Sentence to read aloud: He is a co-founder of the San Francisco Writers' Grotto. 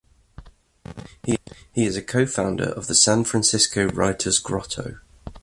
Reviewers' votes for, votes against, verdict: 1, 2, rejected